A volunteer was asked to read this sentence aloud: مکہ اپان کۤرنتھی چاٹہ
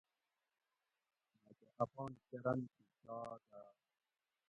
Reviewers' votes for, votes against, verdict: 0, 2, rejected